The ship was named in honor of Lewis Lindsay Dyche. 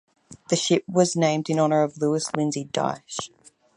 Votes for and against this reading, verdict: 4, 0, accepted